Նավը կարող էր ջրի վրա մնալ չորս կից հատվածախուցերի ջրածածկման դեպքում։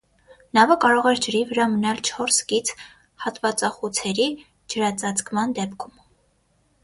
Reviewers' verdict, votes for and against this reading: accepted, 6, 0